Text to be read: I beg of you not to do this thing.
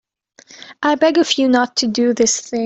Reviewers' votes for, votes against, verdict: 1, 2, rejected